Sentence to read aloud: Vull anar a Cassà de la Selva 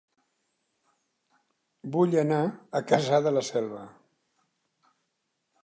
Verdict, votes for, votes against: accepted, 2, 0